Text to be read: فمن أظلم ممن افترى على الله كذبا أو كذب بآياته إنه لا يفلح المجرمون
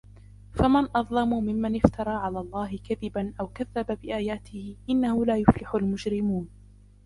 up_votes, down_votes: 2, 0